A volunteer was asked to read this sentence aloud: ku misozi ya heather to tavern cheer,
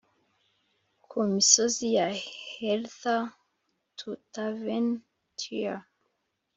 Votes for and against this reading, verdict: 3, 0, accepted